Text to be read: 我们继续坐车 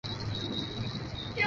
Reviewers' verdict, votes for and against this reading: rejected, 0, 4